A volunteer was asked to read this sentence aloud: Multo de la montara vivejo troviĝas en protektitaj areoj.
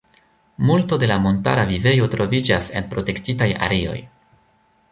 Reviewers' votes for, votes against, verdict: 0, 2, rejected